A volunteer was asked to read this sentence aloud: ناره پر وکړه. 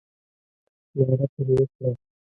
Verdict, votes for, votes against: rejected, 1, 2